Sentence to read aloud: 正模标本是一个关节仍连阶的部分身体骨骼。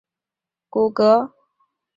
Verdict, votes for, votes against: rejected, 0, 2